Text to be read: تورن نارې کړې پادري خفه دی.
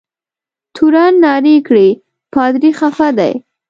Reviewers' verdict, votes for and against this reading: accepted, 2, 0